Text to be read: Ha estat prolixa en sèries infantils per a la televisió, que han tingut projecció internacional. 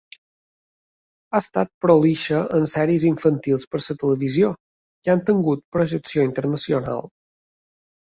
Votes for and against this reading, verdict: 1, 3, rejected